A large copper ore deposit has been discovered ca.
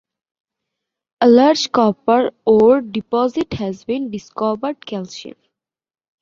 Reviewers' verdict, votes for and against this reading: accepted, 2, 1